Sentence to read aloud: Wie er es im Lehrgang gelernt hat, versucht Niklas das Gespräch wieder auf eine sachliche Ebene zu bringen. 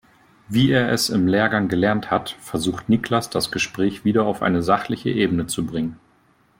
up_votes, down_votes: 3, 0